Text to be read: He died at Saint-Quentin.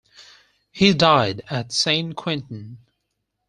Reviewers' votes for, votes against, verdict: 4, 0, accepted